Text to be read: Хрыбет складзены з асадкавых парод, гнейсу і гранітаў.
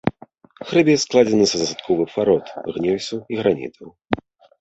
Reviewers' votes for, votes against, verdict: 0, 2, rejected